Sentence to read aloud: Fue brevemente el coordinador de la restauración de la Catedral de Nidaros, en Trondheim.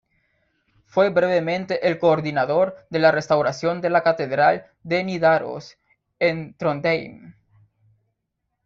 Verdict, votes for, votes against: rejected, 1, 2